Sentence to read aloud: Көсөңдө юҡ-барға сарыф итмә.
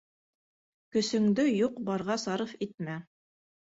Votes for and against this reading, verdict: 2, 0, accepted